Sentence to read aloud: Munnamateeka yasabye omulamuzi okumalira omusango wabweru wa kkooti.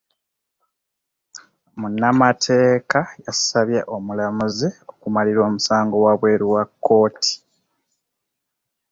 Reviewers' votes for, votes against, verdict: 3, 0, accepted